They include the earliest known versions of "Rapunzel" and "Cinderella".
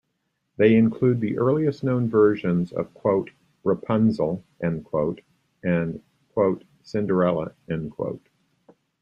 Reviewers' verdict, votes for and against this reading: rejected, 0, 2